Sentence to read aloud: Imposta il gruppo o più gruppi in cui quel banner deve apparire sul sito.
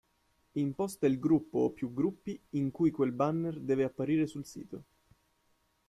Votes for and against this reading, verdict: 2, 0, accepted